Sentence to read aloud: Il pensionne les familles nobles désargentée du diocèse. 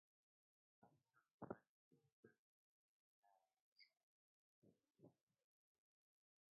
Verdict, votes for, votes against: rejected, 0, 2